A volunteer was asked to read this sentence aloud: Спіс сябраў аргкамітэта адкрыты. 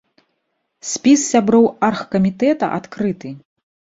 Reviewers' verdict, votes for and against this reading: rejected, 1, 2